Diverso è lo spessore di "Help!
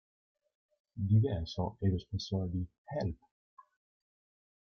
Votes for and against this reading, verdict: 0, 2, rejected